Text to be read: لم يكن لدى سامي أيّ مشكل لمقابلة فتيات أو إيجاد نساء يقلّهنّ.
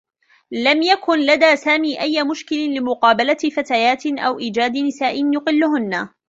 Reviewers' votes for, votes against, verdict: 1, 2, rejected